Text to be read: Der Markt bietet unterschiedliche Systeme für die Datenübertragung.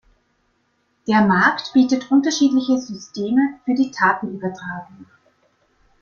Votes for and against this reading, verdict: 2, 0, accepted